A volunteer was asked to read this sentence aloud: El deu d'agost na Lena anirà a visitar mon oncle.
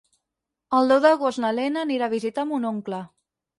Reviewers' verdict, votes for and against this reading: accepted, 6, 0